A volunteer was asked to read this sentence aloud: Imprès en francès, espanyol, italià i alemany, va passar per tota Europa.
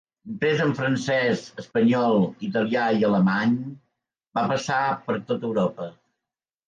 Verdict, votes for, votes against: rejected, 1, 2